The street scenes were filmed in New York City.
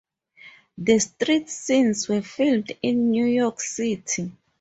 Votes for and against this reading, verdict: 2, 0, accepted